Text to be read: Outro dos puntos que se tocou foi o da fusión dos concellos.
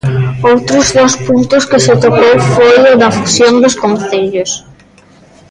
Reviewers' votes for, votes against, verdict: 0, 2, rejected